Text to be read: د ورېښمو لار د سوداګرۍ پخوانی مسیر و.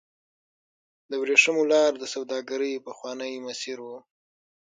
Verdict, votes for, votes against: rejected, 0, 6